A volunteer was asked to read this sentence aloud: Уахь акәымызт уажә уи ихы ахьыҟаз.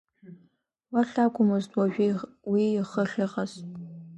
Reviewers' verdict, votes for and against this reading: accepted, 3, 1